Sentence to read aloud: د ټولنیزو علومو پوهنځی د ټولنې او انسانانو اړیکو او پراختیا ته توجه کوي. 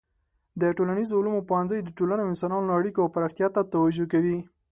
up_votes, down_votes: 4, 0